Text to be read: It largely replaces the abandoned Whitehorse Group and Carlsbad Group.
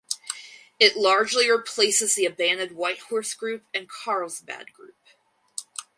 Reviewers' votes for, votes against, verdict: 2, 2, rejected